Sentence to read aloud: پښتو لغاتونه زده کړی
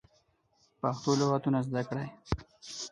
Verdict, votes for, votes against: accepted, 4, 0